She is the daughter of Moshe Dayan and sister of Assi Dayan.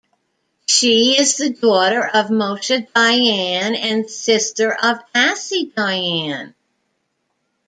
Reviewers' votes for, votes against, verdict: 1, 2, rejected